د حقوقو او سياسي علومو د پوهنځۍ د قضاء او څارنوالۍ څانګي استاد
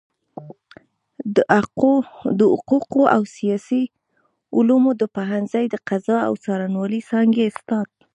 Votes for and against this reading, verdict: 1, 2, rejected